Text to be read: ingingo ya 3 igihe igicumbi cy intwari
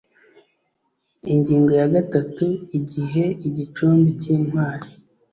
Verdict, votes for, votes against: rejected, 0, 2